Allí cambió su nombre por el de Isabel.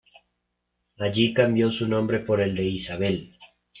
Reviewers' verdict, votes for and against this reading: accepted, 3, 0